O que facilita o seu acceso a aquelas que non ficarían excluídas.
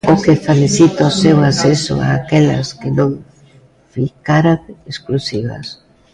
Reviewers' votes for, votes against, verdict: 0, 3, rejected